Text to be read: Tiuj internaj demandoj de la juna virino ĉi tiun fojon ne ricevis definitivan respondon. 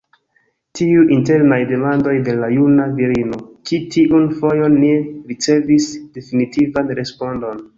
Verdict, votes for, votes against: accepted, 2, 0